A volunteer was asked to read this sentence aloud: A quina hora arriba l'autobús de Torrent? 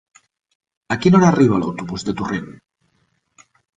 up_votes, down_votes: 3, 0